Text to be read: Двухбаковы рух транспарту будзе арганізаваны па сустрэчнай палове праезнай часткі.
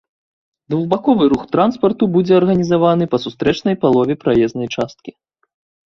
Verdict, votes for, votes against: accepted, 2, 0